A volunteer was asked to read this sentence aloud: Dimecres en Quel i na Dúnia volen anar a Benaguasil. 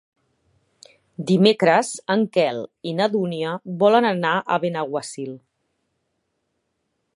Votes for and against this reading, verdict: 1, 2, rejected